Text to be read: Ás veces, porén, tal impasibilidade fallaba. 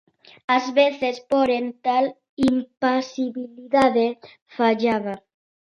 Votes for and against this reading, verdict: 0, 2, rejected